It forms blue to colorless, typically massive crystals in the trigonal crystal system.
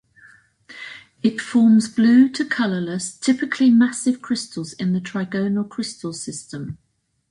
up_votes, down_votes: 2, 0